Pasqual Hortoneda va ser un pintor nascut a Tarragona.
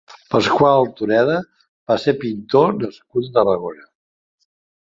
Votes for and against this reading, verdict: 0, 2, rejected